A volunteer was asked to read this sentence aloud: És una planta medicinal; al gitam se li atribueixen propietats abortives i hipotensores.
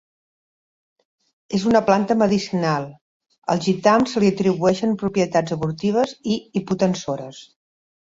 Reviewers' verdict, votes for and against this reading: accepted, 2, 0